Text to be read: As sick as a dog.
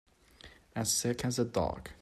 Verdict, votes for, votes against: accepted, 2, 0